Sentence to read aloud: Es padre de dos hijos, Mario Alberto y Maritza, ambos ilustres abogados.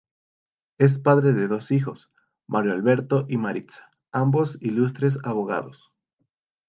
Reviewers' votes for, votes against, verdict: 2, 0, accepted